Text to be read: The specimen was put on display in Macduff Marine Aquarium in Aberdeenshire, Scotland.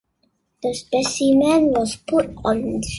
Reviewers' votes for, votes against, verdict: 0, 2, rejected